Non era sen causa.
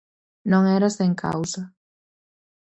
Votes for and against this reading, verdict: 4, 0, accepted